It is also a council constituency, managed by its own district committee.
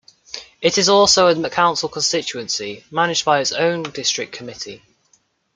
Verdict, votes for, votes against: rejected, 0, 2